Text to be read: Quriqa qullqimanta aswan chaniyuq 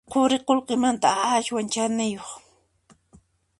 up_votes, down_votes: 1, 2